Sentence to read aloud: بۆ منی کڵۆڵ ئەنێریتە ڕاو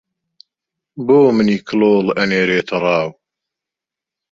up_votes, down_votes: 2, 1